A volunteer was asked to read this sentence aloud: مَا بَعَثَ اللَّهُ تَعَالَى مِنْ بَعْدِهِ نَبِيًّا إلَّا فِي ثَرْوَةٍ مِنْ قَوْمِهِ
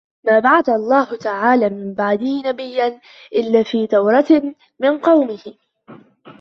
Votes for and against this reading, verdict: 1, 2, rejected